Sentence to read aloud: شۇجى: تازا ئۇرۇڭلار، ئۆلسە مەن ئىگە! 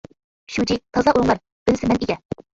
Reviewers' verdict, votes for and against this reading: rejected, 0, 2